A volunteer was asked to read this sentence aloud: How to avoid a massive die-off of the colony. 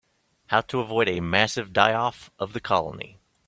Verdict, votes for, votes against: accepted, 3, 0